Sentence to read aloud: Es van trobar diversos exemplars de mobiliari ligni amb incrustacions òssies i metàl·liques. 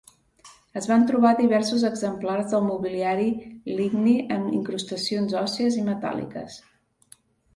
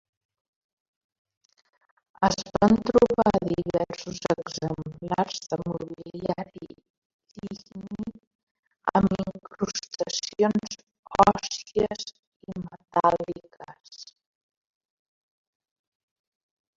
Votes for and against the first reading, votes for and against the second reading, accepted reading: 2, 1, 0, 3, first